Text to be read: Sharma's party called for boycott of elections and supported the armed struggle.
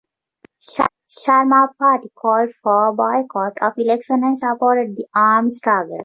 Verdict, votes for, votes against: rejected, 0, 2